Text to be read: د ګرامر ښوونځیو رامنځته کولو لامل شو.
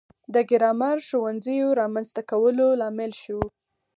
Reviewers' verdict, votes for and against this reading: accepted, 4, 0